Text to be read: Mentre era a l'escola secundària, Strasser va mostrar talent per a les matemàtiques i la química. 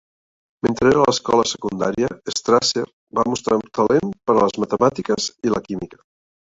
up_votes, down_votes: 1, 3